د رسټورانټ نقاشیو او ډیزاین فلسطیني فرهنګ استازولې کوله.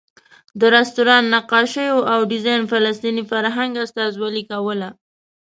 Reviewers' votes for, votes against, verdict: 2, 0, accepted